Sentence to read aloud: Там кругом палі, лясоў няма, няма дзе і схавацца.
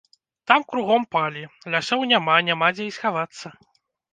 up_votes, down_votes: 1, 2